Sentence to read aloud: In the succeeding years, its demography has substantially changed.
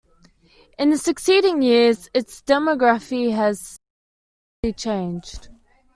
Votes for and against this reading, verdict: 1, 2, rejected